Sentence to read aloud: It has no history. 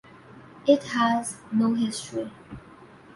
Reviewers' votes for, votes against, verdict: 2, 0, accepted